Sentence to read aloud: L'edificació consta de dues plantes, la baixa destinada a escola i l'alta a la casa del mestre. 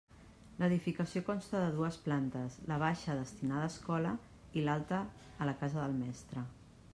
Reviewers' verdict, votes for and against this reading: accepted, 2, 0